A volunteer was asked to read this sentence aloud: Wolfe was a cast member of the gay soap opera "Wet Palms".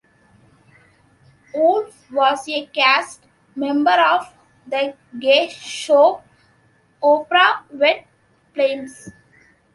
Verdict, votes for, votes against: rejected, 1, 2